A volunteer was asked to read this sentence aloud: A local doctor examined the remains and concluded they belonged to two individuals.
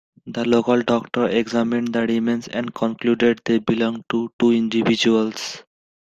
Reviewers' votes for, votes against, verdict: 2, 0, accepted